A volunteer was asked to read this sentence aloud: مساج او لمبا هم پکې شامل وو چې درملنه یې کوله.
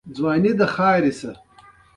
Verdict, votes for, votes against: rejected, 0, 2